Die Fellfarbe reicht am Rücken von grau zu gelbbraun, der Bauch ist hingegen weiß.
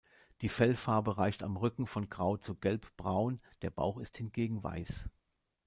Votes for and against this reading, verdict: 2, 0, accepted